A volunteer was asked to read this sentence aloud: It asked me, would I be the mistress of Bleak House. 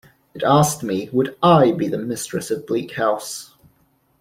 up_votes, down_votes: 2, 0